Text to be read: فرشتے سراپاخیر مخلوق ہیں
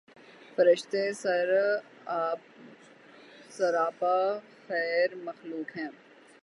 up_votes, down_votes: 0, 9